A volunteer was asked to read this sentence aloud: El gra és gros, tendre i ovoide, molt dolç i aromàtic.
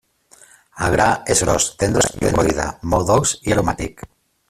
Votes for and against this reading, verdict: 1, 2, rejected